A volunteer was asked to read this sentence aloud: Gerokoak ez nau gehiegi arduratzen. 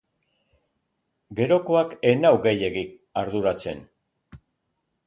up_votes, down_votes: 1, 2